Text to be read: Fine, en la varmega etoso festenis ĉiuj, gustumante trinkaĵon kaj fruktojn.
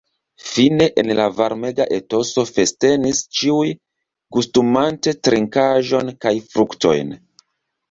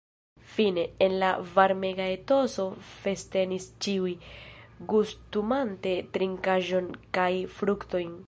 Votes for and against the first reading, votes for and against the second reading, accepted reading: 2, 0, 1, 2, first